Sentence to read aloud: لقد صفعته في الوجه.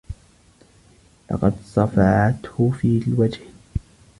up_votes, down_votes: 1, 2